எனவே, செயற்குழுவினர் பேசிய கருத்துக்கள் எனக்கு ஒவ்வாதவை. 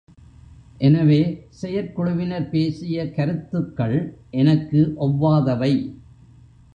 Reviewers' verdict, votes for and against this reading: accepted, 2, 1